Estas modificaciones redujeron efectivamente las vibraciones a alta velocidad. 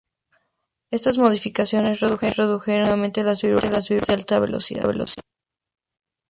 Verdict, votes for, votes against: accepted, 2, 0